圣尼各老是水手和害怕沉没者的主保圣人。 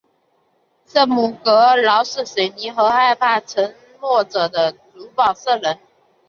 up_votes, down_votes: 1, 2